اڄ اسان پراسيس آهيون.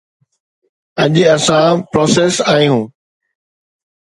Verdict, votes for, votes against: accepted, 2, 0